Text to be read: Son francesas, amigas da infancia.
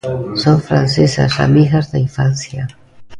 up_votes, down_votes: 1, 2